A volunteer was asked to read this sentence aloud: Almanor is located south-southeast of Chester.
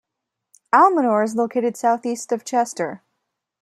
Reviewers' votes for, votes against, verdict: 1, 2, rejected